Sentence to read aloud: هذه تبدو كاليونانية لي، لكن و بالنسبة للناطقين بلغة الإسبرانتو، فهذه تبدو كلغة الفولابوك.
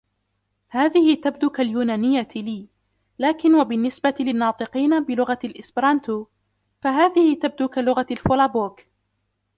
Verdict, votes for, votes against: rejected, 0, 2